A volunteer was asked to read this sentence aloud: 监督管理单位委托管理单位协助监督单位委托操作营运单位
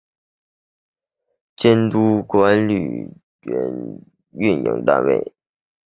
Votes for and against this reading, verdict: 0, 2, rejected